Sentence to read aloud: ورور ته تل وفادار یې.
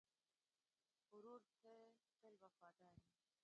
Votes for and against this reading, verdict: 1, 2, rejected